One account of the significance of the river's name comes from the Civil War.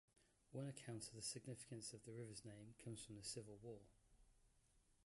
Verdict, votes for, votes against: accepted, 2, 0